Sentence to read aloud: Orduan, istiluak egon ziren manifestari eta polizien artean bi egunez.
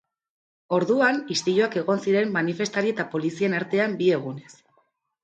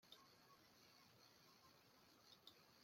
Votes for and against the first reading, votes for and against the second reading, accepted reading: 2, 0, 0, 2, first